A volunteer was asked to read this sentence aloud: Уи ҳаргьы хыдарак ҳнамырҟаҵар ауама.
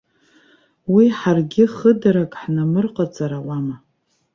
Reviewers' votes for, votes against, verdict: 2, 0, accepted